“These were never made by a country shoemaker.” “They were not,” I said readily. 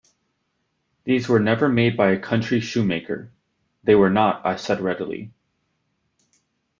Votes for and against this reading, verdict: 2, 0, accepted